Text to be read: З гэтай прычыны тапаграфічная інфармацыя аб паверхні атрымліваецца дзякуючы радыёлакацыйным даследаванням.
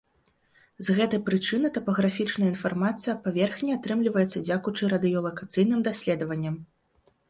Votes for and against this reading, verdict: 2, 0, accepted